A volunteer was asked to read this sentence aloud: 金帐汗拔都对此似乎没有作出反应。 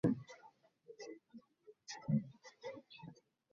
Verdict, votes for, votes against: rejected, 1, 2